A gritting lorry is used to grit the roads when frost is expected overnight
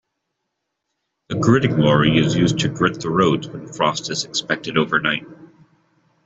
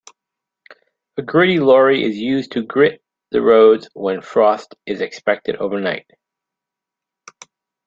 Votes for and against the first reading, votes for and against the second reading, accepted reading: 2, 0, 0, 2, first